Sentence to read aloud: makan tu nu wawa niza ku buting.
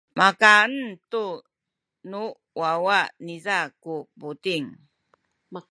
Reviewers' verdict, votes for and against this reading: rejected, 0, 2